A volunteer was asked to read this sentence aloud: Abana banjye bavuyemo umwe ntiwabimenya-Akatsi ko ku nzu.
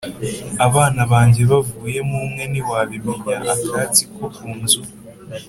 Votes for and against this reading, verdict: 3, 0, accepted